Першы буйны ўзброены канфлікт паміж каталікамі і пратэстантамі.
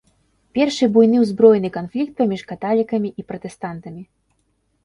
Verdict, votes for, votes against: accepted, 2, 0